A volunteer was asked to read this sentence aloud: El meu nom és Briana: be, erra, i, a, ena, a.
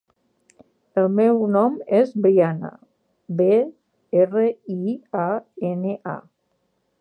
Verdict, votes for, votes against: rejected, 2, 4